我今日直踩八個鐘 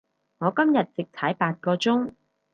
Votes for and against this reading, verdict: 2, 0, accepted